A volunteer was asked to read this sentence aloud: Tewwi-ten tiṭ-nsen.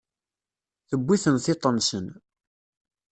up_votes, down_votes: 2, 0